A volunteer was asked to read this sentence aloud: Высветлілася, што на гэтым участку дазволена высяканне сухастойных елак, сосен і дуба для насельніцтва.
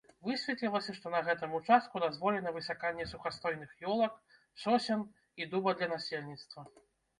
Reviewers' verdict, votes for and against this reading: rejected, 0, 2